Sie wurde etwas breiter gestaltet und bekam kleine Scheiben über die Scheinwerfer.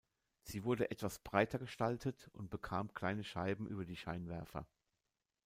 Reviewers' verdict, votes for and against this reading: rejected, 0, 2